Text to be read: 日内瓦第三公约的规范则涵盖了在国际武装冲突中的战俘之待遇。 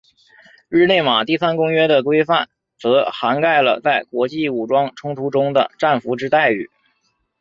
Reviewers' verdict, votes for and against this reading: accepted, 3, 0